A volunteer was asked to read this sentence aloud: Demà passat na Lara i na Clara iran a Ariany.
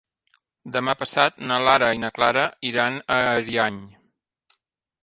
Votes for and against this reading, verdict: 3, 0, accepted